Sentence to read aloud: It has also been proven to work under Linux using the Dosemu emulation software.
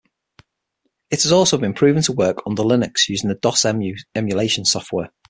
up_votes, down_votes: 6, 3